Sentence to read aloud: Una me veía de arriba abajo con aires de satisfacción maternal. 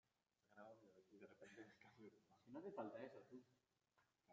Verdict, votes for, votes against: rejected, 0, 2